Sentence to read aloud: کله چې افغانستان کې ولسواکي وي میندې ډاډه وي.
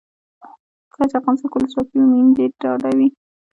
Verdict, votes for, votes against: rejected, 0, 2